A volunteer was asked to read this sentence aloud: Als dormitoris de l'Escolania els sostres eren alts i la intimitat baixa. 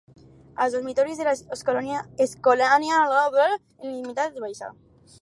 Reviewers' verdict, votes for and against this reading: rejected, 0, 4